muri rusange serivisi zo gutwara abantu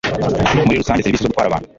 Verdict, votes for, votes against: rejected, 1, 2